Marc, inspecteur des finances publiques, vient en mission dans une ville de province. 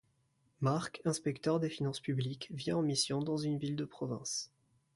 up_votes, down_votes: 2, 0